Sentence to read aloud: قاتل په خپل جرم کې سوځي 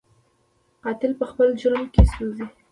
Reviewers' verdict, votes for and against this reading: accepted, 2, 1